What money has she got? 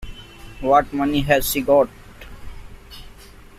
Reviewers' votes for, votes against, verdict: 2, 0, accepted